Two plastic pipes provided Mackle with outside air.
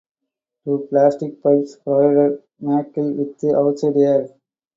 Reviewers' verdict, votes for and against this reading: rejected, 0, 2